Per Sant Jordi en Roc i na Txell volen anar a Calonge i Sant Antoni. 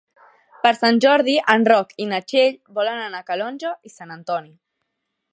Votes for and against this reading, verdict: 4, 0, accepted